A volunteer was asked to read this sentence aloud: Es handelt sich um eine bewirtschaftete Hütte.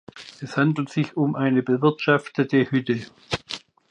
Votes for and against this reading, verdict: 2, 0, accepted